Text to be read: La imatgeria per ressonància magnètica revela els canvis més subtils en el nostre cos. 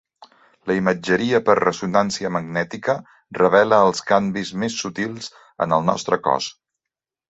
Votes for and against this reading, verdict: 0, 2, rejected